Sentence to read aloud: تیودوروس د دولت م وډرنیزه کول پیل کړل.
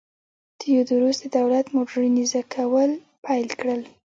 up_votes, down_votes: 1, 2